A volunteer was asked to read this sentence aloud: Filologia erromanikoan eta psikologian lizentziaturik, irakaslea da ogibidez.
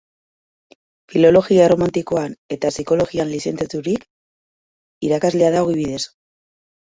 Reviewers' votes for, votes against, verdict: 0, 2, rejected